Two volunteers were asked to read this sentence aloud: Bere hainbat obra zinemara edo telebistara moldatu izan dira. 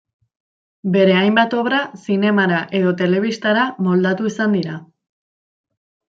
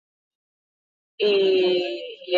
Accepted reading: first